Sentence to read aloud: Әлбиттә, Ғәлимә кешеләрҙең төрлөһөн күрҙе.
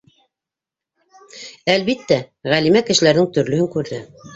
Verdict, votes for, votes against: rejected, 1, 2